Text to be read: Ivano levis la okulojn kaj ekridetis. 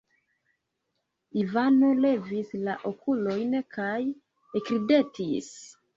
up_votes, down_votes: 2, 0